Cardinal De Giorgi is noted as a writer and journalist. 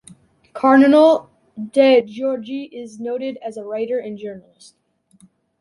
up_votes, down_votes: 2, 0